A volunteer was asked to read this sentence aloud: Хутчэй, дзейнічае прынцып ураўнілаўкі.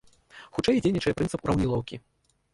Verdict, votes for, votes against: rejected, 0, 2